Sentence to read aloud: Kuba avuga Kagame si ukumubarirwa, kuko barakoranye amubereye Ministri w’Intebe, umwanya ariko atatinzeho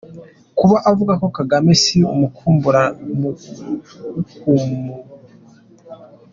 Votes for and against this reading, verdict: 0, 2, rejected